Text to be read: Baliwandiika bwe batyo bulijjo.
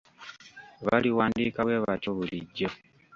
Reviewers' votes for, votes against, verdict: 1, 2, rejected